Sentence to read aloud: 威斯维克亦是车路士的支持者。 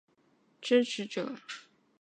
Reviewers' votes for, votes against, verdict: 1, 4, rejected